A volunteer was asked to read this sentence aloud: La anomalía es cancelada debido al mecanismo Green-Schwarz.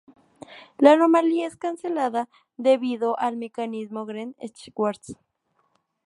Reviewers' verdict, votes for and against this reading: rejected, 0, 2